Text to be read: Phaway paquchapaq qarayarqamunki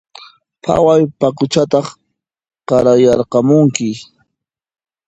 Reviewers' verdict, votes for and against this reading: rejected, 0, 2